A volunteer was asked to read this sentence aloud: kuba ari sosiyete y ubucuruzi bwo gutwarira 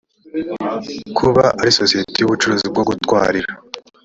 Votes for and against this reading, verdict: 2, 0, accepted